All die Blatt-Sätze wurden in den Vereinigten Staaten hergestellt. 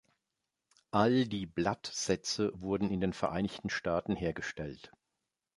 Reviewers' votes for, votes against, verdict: 2, 0, accepted